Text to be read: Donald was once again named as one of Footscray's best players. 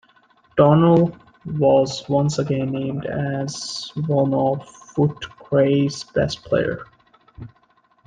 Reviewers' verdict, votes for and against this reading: rejected, 0, 2